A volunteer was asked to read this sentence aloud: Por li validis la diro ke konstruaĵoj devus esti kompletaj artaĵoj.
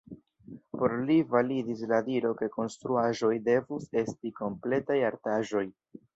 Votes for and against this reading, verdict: 1, 2, rejected